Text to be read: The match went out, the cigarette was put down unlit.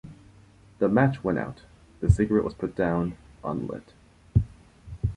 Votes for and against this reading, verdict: 2, 0, accepted